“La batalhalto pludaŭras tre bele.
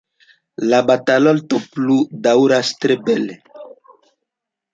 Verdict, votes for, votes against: rejected, 1, 2